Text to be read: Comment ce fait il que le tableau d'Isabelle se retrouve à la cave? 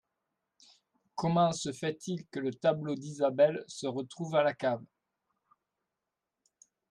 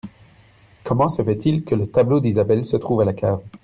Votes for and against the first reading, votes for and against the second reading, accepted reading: 2, 0, 0, 2, first